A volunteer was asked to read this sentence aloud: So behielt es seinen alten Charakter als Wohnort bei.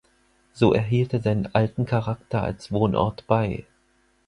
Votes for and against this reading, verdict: 0, 4, rejected